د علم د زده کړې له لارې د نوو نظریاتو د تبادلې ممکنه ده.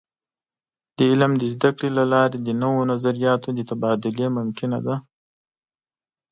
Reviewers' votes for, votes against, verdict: 2, 0, accepted